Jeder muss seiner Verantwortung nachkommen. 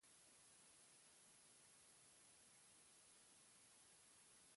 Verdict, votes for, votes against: rejected, 0, 4